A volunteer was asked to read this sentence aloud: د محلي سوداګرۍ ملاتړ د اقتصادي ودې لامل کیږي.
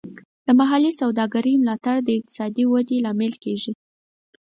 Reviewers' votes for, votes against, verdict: 4, 0, accepted